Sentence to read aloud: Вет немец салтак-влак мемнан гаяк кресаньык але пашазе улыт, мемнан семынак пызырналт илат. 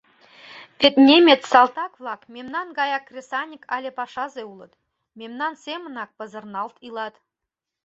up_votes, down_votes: 2, 0